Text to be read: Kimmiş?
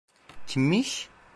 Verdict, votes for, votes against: accepted, 2, 0